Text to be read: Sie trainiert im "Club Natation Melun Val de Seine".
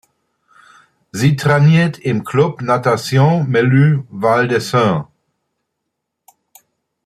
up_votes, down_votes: 2, 0